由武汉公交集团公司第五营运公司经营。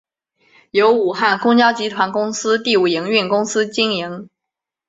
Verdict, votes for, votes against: accepted, 2, 0